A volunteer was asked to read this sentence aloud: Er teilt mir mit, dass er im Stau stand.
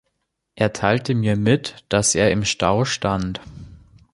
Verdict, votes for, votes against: rejected, 1, 2